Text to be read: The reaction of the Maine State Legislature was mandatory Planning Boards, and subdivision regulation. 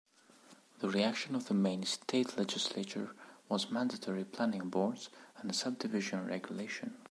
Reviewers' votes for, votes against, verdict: 2, 0, accepted